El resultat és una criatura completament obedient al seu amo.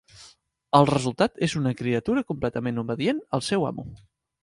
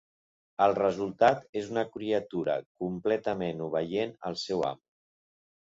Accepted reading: first